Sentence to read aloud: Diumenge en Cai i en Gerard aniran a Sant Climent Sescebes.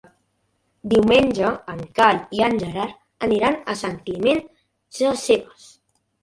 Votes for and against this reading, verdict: 1, 4, rejected